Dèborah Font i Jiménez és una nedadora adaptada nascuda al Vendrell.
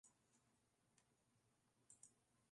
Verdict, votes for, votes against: rejected, 0, 2